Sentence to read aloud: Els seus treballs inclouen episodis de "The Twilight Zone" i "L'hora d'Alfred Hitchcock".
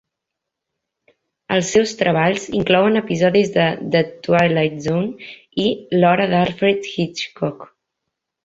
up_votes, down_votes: 2, 0